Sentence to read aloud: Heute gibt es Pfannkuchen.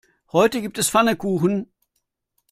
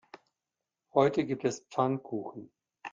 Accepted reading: second